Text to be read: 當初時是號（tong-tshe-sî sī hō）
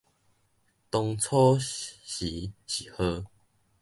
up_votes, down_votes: 0, 2